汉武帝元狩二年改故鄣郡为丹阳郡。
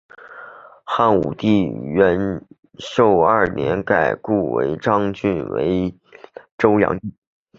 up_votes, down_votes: 0, 2